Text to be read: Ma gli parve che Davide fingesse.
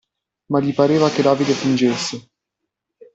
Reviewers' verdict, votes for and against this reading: rejected, 0, 2